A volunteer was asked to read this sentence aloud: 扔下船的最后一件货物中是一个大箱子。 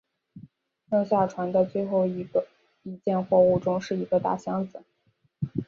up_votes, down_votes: 1, 2